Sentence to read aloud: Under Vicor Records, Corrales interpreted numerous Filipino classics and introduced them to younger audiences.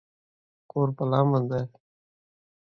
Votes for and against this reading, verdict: 0, 2, rejected